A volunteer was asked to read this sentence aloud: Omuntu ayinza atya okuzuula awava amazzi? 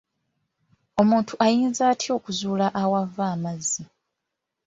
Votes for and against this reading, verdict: 1, 2, rejected